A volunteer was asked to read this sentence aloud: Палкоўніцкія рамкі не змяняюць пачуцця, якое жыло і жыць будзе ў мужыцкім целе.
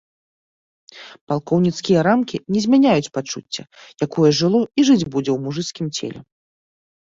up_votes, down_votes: 2, 0